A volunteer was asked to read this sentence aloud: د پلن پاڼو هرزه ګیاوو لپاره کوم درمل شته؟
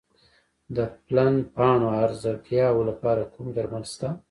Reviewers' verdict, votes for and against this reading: accepted, 2, 0